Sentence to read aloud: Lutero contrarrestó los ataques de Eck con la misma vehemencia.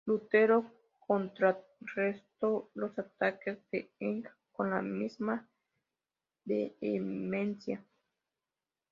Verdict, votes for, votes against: rejected, 0, 2